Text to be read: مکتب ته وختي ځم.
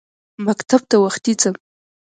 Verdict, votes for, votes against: accepted, 2, 1